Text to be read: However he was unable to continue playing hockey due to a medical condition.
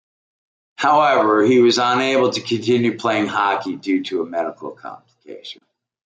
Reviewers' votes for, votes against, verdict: 2, 1, accepted